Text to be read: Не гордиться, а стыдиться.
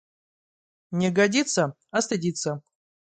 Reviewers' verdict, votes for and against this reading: rejected, 0, 2